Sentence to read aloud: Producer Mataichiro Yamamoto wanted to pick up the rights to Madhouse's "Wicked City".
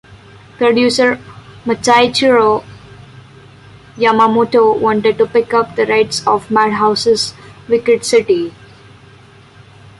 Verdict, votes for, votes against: rejected, 0, 2